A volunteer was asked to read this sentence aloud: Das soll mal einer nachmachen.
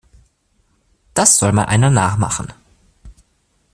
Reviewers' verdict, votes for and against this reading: accepted, 2, 0